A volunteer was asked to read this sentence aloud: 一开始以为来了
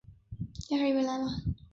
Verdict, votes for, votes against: rejected, 2, 3